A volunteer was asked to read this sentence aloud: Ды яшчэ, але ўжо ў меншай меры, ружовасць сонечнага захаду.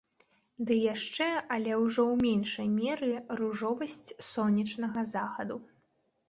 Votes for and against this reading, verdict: 2, 0, accepted